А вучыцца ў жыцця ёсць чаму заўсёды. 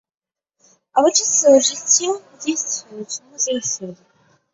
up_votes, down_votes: 1, 2